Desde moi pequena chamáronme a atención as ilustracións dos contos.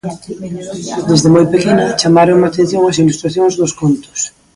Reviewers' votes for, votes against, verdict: 1, 2, rejected